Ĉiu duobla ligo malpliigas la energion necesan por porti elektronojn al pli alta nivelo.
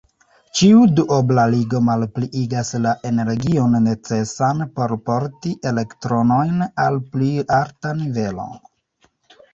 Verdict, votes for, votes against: rejected, 1, 2